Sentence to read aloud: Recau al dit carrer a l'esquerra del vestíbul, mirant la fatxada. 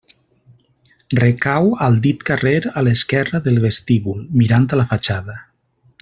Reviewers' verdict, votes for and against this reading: accepted, 2, 0